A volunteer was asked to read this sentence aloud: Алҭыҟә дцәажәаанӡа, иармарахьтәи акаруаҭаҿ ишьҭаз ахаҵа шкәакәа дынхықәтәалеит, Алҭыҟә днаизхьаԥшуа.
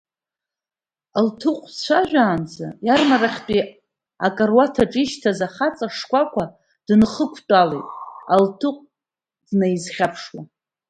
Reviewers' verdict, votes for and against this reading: rejected, 1, 2